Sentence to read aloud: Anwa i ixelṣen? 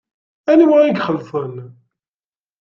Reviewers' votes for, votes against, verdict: 2, 0, accepted